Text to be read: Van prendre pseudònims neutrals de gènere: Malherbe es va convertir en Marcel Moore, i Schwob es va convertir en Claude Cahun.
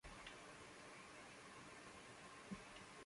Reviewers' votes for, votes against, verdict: 0, 2, rejected